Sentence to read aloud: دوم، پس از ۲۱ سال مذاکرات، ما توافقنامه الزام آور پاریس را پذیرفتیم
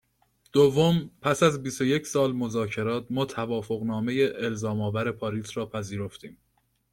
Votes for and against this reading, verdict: 0, 2, rejected